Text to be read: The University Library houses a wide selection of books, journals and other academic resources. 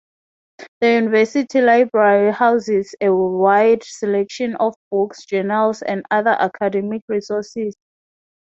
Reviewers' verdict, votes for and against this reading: rejected, 0, 3